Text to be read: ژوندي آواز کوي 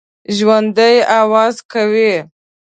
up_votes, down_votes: 2, 0